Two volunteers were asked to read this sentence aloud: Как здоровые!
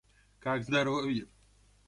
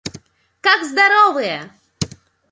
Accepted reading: second